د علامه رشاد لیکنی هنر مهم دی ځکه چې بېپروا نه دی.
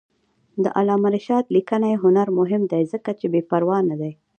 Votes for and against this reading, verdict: 0, 2, rejected